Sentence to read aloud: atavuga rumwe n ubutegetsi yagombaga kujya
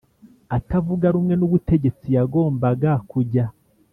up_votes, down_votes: 2, 0